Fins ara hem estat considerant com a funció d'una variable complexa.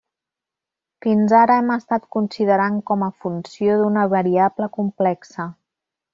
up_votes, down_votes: 1, 2